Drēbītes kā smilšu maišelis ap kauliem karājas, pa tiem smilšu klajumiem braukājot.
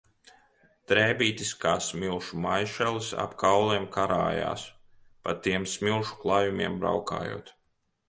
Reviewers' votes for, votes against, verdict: 2, 0, accepted